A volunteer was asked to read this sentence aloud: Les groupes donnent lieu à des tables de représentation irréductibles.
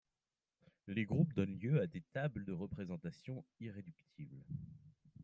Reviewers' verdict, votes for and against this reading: rejected, 0, 2